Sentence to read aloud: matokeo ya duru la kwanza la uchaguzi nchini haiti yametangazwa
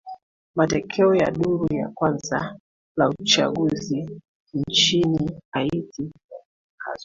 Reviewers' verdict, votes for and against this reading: rejected, 0, 2